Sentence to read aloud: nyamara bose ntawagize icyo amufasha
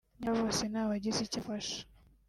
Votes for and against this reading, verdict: 0, 2, rejected